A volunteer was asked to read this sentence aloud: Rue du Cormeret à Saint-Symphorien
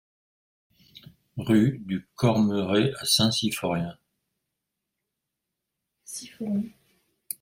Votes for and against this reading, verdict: 0, 2, rejected